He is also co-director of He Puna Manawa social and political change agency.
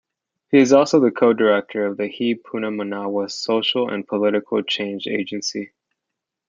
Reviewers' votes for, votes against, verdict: 1, 2, rejected